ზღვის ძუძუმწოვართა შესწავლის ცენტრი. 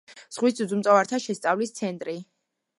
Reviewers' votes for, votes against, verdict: 2, 0, accepted